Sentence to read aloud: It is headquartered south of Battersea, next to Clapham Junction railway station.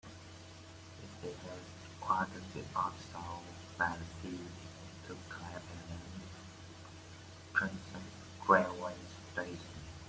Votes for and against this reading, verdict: 0, 2, rejected